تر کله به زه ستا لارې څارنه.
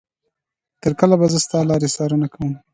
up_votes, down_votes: 2, 0